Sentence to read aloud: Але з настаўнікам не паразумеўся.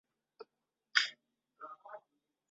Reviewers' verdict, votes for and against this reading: rejected, 0, 2